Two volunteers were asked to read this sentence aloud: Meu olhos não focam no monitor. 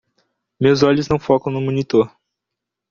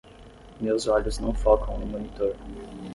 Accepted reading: first